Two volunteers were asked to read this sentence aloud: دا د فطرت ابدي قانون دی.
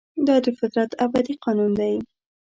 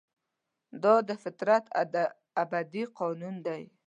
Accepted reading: first